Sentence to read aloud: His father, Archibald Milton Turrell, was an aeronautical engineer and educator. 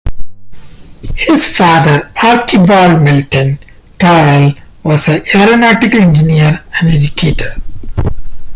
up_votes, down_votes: 0, 2